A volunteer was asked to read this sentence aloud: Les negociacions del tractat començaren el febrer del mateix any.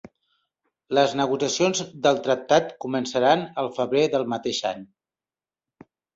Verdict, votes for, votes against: rejected, 0, 2